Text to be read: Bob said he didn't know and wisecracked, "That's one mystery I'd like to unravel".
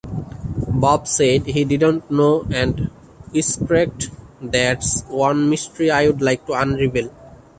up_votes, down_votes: 2, 1